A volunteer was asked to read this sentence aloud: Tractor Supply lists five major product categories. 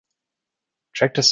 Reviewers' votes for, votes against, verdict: 0, 2, rejected